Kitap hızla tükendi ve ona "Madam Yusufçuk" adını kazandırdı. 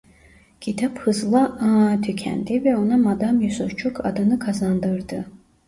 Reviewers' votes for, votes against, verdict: 1, 2, rejected